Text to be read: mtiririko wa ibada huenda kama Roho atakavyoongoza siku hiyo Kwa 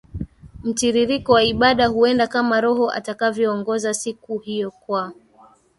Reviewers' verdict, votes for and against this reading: rejected, 0, 2